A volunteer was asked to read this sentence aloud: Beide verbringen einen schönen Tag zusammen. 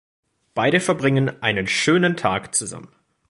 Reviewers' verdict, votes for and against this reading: accepted, 2, 0